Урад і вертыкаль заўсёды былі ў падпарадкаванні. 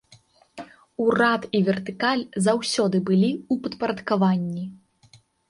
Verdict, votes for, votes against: rejected, 0, 2